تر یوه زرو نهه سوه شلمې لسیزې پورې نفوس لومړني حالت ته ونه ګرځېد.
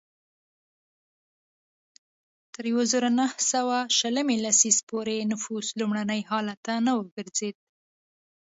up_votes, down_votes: 0, 2